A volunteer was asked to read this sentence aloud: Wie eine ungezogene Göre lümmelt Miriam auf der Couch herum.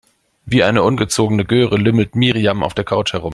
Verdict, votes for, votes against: accepted, 2, 0